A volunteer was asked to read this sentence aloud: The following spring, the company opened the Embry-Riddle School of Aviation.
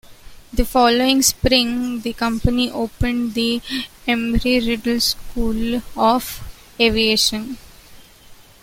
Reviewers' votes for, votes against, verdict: 2, 0, accepted